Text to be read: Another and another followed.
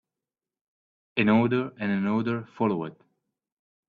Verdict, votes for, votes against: rejected, 1, 2